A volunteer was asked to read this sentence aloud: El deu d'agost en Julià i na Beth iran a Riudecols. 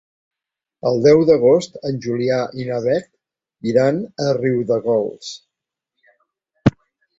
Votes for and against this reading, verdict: 1, 2, rejected